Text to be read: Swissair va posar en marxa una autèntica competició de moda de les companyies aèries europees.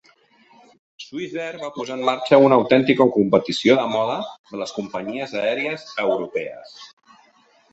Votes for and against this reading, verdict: 2, 0, accepted